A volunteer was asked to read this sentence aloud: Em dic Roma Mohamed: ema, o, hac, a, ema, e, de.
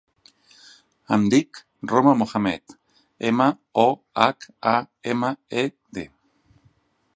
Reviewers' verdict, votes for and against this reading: accepted, 3, 0